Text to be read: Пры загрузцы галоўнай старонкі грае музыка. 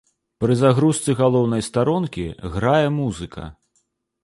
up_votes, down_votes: 2, 0